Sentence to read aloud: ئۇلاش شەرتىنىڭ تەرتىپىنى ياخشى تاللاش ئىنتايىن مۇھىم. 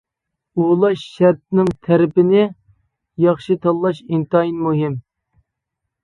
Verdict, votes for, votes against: rejected, 0, 2